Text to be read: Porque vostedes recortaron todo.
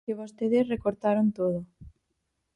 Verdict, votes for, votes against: rejected, 0, 4